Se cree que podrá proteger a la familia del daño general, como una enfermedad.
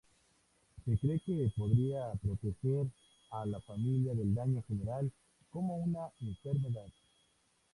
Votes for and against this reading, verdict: 2, 0, accepted